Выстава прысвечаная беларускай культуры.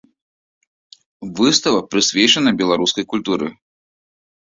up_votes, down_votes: 0, 2